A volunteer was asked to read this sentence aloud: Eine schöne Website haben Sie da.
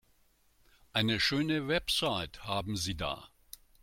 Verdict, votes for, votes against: accepted, 2, 0